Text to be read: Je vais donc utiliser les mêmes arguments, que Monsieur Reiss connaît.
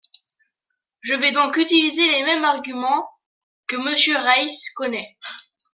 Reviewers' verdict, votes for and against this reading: accepted, 2, 0